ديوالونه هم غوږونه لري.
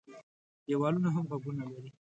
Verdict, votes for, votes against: accepted, 2, 0